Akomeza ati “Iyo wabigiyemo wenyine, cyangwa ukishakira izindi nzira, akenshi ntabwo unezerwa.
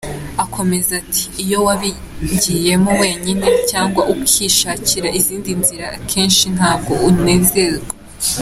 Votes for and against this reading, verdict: 2, 1, accepted